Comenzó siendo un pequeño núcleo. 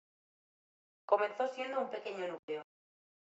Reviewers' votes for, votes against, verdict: 2, 0, accepted